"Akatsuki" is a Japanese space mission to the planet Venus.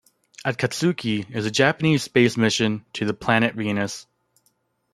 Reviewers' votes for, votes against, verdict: 2, 1, accepted